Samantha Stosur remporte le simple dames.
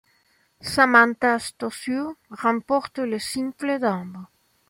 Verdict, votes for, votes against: rejected, 1, 2